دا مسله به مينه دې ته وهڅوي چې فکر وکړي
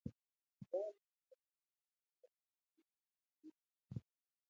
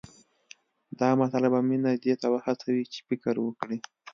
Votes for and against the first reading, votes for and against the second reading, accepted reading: 0, 2, 2, 0, second